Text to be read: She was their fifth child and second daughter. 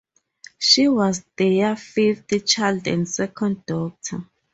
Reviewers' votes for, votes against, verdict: 0, 4, rejected